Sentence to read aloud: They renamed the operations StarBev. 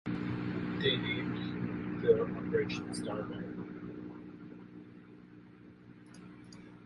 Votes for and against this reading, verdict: 0, 2, rejected